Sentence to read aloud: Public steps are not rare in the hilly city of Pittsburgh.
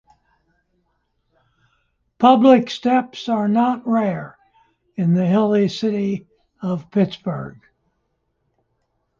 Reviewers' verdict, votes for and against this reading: accepted, 2, 0